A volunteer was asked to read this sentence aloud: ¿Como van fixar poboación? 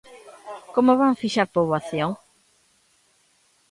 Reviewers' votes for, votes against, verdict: 2, 0, accepted